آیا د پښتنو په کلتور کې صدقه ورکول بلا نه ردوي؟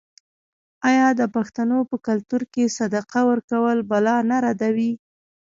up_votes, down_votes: 0, 2